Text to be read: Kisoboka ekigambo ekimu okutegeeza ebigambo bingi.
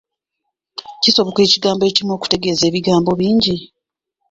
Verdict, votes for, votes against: rejected, 0, 2